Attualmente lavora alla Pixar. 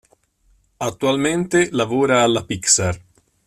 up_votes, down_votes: 2, 0